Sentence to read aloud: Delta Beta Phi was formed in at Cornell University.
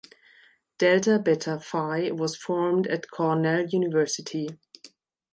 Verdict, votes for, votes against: rejected, 0, 2